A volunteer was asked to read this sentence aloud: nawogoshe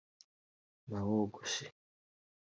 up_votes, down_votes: 2, 1